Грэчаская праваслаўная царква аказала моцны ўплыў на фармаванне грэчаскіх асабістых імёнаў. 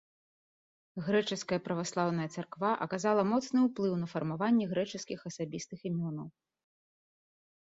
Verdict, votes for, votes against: accepted, 2, 0